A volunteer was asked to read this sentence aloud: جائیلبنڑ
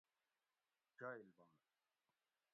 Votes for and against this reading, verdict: 1, 2, rejected